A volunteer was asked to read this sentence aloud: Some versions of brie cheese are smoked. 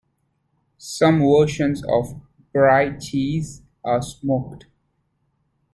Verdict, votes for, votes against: rejected, 0, 2